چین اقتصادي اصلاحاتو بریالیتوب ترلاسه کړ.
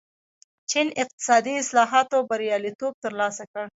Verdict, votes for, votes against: rejected, 0, 2